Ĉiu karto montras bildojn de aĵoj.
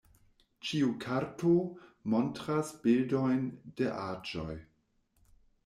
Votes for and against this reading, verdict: 0, 2, rejected